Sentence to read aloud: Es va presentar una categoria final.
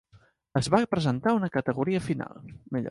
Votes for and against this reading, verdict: 0, 2, rejected